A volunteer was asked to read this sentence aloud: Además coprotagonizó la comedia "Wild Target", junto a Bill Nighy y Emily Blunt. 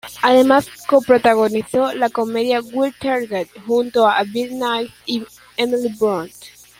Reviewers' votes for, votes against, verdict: 0, 2, rejected